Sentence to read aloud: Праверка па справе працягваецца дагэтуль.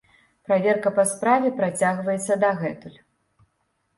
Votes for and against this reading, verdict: 2, 0, accepted